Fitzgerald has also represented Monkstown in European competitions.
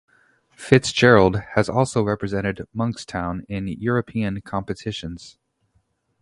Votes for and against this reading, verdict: 0, 2, rejected